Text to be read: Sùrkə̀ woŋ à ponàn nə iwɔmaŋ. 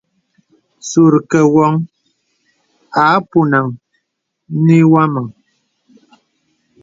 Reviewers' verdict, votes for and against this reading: accepted, 2, 0